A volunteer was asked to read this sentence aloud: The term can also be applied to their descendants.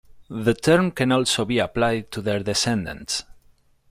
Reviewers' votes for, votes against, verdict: 0, 2, rejected